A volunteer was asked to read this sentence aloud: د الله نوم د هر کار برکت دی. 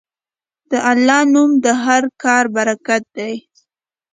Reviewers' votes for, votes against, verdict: 2, 0, accepted